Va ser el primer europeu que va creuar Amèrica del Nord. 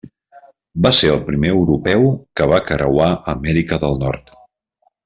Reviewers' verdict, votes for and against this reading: accepted, 2, 0